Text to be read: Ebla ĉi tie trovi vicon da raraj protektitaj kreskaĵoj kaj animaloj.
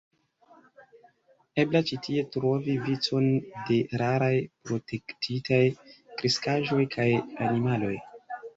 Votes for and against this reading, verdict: 1, 2, rejected